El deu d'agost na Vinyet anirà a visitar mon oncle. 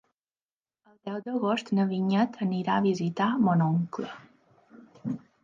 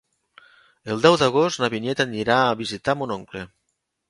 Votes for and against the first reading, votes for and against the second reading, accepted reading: 3, 4, 2, 0, second